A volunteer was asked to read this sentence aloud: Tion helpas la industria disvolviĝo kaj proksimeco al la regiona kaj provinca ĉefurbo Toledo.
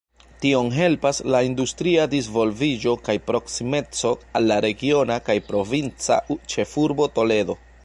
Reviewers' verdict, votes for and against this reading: accepted, 2, 0